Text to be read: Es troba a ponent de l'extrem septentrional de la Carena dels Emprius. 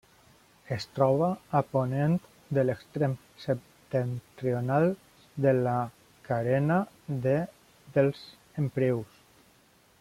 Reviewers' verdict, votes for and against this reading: rejected, 0, 2